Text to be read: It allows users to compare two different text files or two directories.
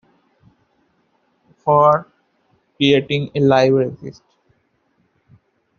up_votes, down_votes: 0, 2